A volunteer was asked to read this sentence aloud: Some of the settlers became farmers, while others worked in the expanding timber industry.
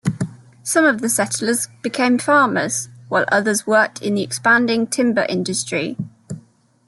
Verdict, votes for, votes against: accepted, 2, 0